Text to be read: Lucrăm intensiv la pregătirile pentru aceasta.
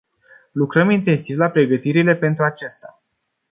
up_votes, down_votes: 0, 2